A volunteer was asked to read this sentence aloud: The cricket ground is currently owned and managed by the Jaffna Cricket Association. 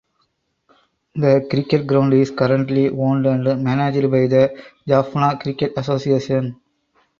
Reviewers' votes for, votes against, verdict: 2, 2, rejected